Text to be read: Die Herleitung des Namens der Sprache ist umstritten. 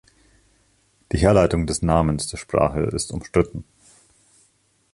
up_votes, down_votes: 2, 0